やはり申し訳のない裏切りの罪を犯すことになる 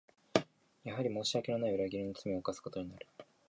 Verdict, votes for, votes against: accepted, 2, 1